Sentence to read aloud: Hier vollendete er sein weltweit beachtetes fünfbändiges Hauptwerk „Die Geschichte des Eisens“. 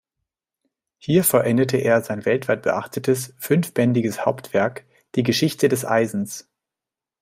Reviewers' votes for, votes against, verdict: 2, 0, accepted